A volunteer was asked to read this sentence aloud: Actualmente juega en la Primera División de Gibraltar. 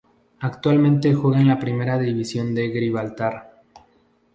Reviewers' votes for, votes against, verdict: 0, 2, rejected